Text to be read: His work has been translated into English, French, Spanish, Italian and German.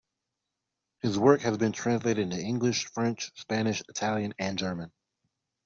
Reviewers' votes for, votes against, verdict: 2, 0, accepted